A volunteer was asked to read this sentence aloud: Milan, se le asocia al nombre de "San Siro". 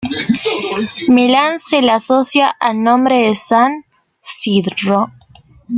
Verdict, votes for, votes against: accepted, 2, 1